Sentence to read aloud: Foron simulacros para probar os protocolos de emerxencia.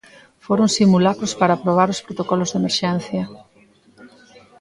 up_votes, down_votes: 1, 2